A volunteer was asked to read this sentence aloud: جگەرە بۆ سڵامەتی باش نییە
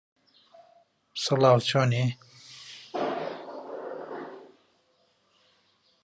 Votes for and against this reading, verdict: 0, 2, rejected